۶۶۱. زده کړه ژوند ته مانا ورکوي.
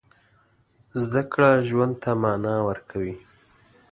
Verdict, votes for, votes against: rejected, 0, 2